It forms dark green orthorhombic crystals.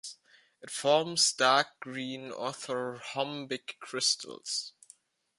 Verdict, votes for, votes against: accepted, 2, 0